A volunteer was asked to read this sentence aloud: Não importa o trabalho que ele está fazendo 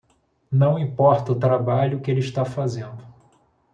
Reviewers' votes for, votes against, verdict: 2, 0, accepted